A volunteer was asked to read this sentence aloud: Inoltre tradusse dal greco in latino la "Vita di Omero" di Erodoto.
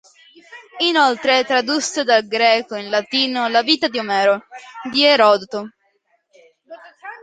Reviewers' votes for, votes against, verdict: 2, 0, accepted